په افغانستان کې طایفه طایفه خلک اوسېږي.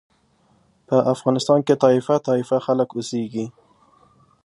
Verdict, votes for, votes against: accepted, 2, 0